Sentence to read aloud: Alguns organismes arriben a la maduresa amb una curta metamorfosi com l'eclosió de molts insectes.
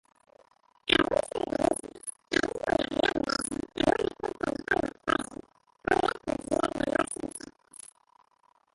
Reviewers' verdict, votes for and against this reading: rejected, 0, 2